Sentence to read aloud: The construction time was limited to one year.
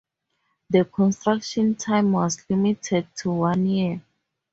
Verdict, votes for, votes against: accepted, 4, 0